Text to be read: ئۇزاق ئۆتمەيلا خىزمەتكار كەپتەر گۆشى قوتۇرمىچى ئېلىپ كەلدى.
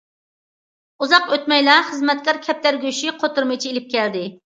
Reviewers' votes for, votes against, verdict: 2, 0, accepted